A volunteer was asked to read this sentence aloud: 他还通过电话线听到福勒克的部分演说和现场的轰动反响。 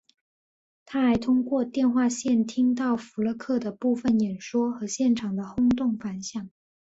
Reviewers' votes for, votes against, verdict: 3, 0, accepted